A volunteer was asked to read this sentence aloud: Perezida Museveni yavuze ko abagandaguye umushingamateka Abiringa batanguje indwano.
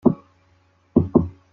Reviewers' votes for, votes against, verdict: 0, 2, rejected